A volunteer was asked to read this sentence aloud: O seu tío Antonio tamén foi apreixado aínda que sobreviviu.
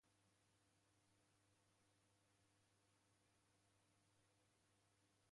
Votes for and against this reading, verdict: 0, 2, rejected